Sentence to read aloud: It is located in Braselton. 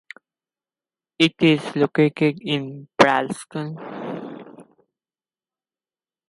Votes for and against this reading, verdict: 0, 2, rejected